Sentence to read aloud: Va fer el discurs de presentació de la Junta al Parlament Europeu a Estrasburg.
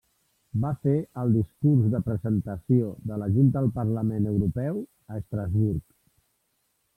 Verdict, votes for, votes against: accepted, 2, 1